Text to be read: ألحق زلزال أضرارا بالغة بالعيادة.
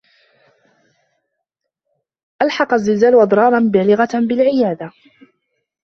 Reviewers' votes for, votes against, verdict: 1, 2, rejected